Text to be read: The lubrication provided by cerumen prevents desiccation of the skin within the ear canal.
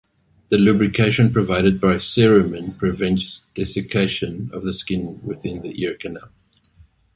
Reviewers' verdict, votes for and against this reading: accepted, 2, 0